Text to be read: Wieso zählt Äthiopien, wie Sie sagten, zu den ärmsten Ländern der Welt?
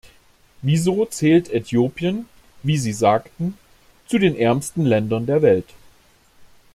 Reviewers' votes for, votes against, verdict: 2, 0, accepted